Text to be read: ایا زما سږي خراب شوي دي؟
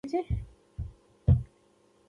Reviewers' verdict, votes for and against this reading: rejected, 0, 2